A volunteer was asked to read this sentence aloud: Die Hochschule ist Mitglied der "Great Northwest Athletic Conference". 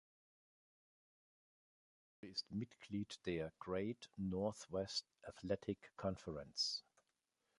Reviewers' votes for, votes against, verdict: 0, 2, rejected